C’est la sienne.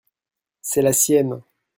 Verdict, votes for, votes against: accepted, 2, 0